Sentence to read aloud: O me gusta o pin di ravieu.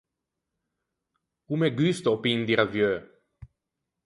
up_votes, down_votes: 4, 0